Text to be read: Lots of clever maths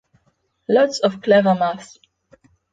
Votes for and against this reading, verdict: 6, 0, accepted